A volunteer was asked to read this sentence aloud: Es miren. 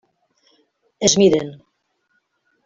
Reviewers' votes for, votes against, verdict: 3, 0, accepted